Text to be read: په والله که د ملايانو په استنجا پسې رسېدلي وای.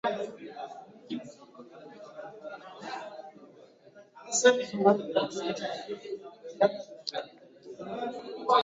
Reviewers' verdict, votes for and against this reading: rejected, 0, 2